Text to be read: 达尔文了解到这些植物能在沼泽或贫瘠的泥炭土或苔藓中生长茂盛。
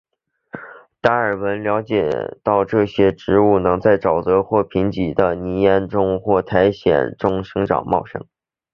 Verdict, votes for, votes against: accepted, 5, 3